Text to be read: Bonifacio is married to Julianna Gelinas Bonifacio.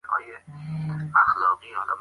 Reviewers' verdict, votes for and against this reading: rejected, 0, 2